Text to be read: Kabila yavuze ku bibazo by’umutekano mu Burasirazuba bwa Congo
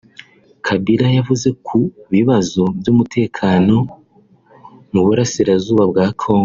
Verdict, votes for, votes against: accepted, 3, 0